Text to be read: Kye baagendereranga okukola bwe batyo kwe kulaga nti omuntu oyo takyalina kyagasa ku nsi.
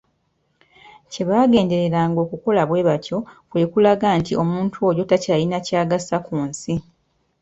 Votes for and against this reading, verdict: 2, 0, accepted